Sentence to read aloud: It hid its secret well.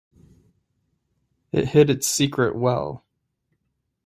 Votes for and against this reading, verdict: 3, 0, accepted